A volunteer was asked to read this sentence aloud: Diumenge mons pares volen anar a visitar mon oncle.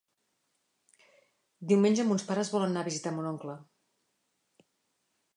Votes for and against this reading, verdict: 0, 2, rejected